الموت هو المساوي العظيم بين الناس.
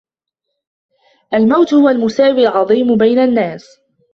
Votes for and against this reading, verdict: 1, 2, rejected